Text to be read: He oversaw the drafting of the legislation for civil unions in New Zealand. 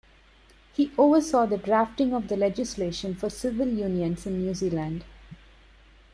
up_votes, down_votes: 2, 0